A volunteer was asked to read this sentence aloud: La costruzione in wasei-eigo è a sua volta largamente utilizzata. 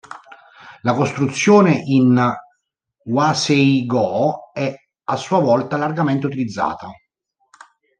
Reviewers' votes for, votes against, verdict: 0, 2, rejected